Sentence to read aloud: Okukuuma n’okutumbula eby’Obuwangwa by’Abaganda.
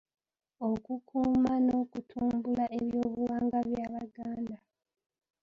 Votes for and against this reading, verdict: 1, 2, rejected